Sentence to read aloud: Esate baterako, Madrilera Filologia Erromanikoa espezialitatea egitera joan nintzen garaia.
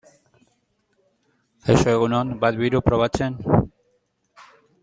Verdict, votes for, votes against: rejected, 0, 2